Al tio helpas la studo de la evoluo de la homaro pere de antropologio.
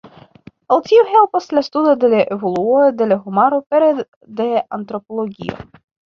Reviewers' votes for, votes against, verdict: 2, 0, accepted